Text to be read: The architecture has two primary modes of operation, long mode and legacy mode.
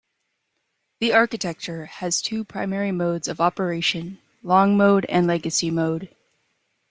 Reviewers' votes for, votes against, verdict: 2, 0, accepted